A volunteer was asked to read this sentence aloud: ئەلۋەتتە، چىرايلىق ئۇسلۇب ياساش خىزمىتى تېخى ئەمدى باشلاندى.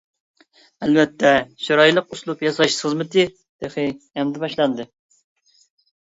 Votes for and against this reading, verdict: 1, 2, rejected